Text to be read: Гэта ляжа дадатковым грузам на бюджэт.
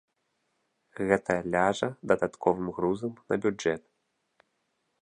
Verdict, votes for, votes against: rejected, 0, 2